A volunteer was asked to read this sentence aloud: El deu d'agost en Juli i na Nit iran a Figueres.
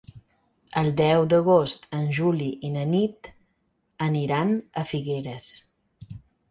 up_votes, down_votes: 0, 4